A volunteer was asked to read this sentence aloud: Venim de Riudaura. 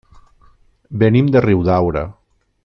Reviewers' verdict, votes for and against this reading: accepted, 3, 0